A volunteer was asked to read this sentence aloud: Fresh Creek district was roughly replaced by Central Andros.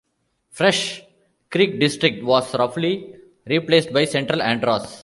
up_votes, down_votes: 2, 0